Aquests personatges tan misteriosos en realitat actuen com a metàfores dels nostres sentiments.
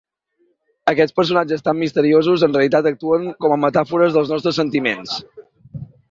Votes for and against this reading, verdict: 2, 0, accepted